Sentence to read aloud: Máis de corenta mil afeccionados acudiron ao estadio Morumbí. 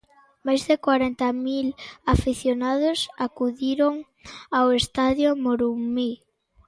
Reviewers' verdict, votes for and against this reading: rejected, 0, 2